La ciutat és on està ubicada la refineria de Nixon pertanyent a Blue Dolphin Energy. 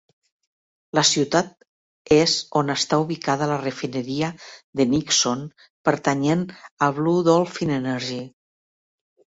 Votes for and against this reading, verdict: 5, 0, accepted